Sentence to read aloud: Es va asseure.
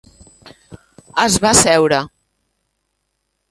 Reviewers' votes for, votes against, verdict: 2, 0, accepted